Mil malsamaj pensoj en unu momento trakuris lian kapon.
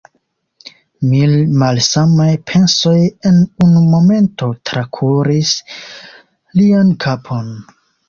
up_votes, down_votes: 3, 1